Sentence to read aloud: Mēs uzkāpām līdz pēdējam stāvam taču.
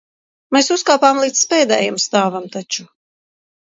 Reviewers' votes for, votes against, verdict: 2, 0, accepted